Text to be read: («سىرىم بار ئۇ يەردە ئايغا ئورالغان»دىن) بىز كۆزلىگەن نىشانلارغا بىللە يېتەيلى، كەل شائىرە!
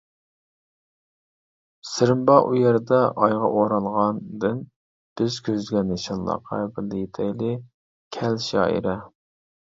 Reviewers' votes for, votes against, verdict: 1, 2, rejected